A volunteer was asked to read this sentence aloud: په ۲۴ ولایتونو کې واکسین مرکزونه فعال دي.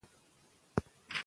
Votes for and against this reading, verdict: 0, 2, rejected